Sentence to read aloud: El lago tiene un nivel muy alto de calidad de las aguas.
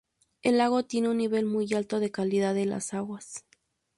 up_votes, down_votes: 4, 0